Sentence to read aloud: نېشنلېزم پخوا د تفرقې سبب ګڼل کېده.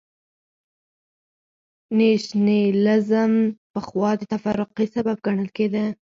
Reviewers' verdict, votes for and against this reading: accepted, 4, 0